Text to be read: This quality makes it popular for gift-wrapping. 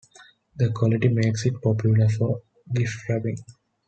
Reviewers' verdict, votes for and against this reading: rejected, 1, 2